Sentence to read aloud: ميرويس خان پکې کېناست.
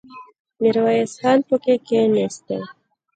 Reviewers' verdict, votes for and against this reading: rejected, 1, 2